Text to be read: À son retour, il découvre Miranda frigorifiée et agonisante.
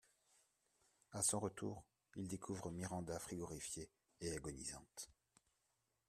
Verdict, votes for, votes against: accepted, 2, 1